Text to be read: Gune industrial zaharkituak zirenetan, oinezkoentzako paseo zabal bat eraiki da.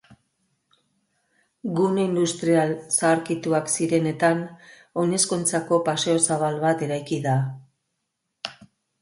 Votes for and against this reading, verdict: 4, 2, accepted